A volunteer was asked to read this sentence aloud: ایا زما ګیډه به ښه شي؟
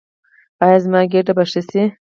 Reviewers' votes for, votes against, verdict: 2, 4, rejected